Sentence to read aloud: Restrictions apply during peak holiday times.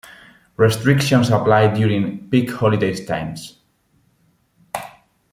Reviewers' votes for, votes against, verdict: 2, 1, accepted